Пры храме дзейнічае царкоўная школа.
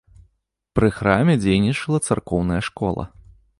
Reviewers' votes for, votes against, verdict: 2, 3, rejected